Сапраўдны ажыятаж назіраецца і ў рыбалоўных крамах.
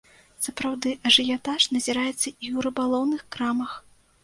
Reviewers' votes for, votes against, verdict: 1, 2, rejected